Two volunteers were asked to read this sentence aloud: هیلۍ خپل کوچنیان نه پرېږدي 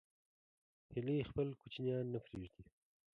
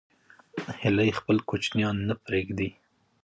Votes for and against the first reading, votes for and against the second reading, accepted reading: 2, 1, 1, 2, first